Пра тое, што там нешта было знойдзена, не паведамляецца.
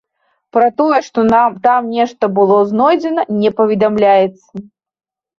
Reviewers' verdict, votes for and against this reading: rejected, 0, 2